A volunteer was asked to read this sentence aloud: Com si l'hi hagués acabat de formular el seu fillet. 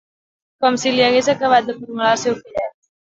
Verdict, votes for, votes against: rejected, 0, 2